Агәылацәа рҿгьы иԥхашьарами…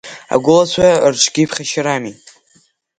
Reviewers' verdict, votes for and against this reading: accepted, 2, 0